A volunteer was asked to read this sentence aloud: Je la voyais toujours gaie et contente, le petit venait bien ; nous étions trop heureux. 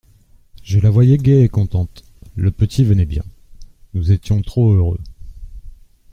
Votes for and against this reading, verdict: 0, 2, rejected